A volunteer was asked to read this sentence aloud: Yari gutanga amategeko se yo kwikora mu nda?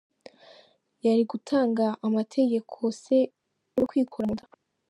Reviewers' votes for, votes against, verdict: 0, 2, rejected